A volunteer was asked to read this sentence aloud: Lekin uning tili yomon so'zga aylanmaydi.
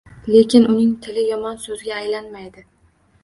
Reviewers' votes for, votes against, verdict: 2, 0, accepted